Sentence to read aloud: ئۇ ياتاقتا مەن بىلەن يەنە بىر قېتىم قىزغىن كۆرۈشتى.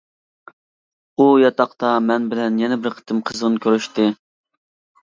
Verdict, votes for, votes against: accepted, 2, 0